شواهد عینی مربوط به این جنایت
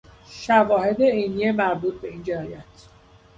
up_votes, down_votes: 1, 2